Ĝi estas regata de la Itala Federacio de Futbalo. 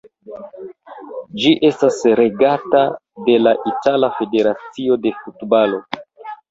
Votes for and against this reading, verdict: 0, 2, rejected